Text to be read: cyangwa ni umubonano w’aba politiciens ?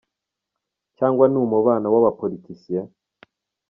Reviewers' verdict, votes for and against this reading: accepted, 2, 0